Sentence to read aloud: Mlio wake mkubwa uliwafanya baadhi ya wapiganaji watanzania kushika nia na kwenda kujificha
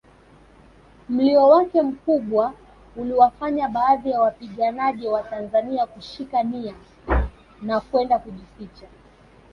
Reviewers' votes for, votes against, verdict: 1, 2, rejected